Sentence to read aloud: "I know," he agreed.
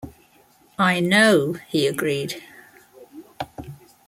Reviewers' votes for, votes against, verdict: 2, 0, accepted